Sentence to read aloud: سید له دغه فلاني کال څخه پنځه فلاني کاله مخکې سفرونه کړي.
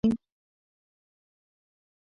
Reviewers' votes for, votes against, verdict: 1, 2, rejected